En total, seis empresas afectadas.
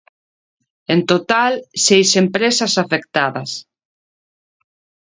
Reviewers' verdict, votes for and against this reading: accepted, 2, 0